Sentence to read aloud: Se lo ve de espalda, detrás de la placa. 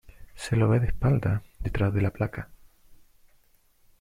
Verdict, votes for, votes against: accepted, 2, 0